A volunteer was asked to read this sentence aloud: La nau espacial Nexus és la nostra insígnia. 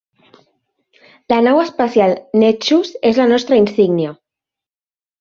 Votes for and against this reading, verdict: 0, 2, rejected